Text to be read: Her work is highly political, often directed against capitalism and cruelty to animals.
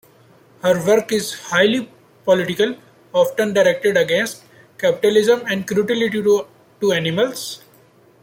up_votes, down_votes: 0, 2